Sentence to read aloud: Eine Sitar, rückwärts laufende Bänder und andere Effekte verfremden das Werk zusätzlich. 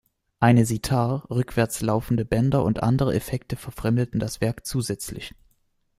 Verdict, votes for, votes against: rejected, 1, 2